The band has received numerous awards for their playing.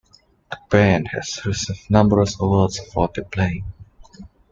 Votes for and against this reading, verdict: 1, 2, rejected